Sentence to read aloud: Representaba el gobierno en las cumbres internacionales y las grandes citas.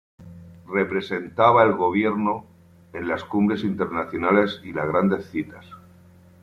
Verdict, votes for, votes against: accepted, 2, 0